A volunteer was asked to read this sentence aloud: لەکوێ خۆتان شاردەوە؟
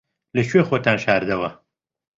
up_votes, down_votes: 2, 0